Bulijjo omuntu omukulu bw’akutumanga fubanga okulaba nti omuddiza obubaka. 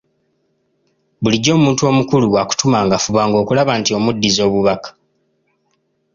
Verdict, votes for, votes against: accepted, 2, 0